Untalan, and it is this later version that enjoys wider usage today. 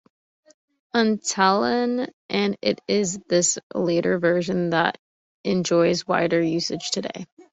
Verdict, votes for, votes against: accepted, 3, 0